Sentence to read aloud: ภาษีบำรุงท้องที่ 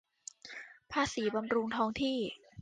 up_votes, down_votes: 2, 0